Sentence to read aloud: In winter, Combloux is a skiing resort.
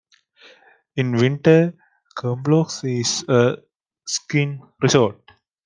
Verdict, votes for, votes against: accepted, 2, 1